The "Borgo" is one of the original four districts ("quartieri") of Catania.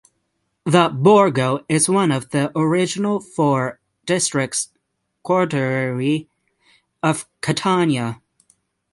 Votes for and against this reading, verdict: 3, 6, rejected